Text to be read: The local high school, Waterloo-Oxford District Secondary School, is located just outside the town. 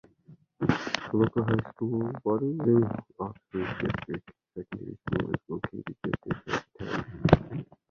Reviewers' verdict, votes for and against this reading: rejected, 0, 2